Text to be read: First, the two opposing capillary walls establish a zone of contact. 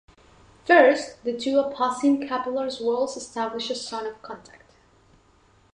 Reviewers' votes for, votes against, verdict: 0, 2, rejected